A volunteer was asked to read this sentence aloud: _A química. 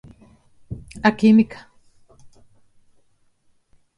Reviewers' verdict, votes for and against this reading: accepted, 2, 0